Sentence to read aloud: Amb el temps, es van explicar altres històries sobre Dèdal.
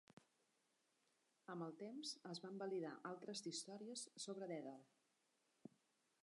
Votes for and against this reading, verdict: 1, 2, rejected